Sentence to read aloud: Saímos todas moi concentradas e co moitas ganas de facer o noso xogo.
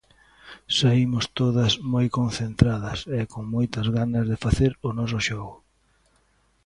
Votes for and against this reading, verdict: 2, 1, accepted